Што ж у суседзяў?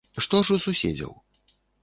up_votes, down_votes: 3, 0